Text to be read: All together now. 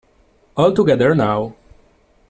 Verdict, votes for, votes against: accepted, 2, 0